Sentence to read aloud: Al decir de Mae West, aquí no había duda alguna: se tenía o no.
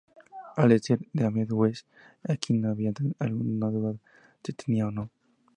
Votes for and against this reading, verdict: 0, 4, rejected